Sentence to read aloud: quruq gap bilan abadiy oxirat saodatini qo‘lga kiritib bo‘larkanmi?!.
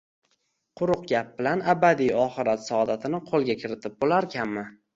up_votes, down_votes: 2, 0